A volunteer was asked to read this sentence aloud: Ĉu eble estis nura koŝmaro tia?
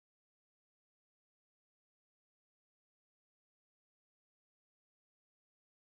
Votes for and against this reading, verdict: 0, 2, rejected